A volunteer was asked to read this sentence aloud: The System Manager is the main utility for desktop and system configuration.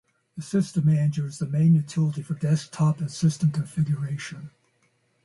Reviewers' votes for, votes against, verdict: 0, 2, rejected